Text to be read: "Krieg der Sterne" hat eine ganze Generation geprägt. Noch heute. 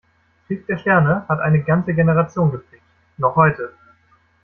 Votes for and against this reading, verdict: 2, 1, accepted